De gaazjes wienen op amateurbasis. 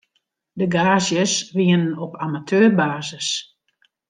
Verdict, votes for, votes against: accepted, 2, 0